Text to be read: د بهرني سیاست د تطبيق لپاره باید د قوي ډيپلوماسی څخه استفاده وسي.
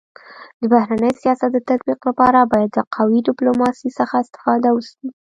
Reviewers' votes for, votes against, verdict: 1, 2, rejected